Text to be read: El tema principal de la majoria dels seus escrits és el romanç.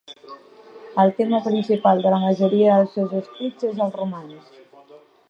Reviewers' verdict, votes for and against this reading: accepted, 3, 0